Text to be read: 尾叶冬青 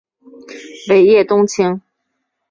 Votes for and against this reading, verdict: 2, 0, accepted